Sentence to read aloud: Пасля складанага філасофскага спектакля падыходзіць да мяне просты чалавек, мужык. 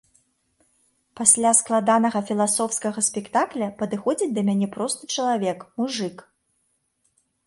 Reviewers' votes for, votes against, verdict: 3, 0, accepted